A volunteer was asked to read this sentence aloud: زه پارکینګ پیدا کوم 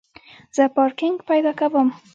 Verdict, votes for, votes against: accepted, 2, 0